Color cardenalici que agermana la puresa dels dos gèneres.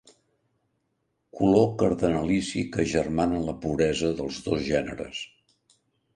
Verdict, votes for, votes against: accepted, 2, 0